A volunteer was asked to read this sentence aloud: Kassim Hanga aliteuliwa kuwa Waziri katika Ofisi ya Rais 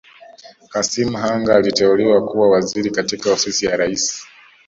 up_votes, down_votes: 2, 1